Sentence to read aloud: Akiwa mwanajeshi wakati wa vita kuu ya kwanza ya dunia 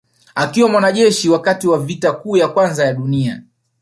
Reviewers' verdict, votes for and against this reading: accepted, 2, 1